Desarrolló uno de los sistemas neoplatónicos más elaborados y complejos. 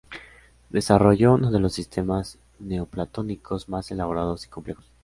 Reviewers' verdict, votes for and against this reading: accepted, 2, 0